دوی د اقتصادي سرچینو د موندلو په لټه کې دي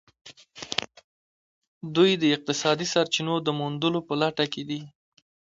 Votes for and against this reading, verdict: 2, 0, accepted